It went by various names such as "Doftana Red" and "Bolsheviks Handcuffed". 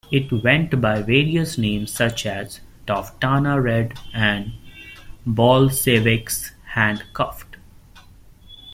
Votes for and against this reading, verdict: 1, 2, rejected